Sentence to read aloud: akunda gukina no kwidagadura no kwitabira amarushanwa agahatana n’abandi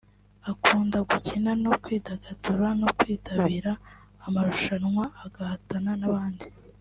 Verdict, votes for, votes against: accepted, 2, 0